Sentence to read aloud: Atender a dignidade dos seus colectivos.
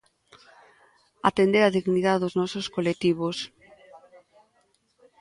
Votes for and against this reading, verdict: 0, 2, rejected